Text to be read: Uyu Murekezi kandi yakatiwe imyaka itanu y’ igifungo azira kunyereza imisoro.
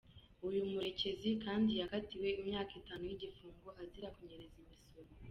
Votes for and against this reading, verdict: 1, 2, rejected